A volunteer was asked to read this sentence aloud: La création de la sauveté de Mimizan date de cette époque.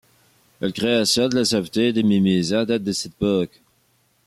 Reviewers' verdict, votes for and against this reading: accepted, 2, 1